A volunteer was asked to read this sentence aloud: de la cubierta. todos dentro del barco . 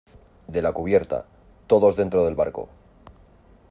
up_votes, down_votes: 2, 0